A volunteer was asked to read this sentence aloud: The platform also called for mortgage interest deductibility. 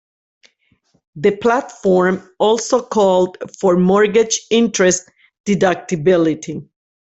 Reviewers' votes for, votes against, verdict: 2, 1, accepted